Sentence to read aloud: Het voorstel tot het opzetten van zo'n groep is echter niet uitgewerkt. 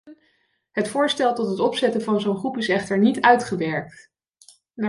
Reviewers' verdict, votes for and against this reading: rejected, 0, 2